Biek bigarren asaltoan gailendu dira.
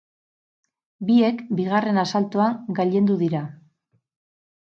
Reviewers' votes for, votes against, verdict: 0, 2, rejected